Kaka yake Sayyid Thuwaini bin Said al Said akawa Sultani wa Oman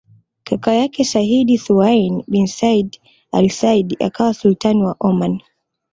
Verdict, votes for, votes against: accepted, 2, 0